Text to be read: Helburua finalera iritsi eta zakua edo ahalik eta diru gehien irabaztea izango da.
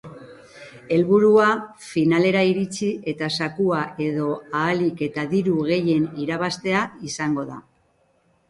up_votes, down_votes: 2, 1